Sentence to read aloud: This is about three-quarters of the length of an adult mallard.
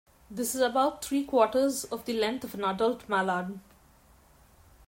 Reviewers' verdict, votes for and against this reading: accepted, 2, 0